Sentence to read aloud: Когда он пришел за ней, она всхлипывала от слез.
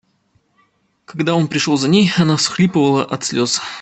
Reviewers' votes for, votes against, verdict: 2, 0, accepted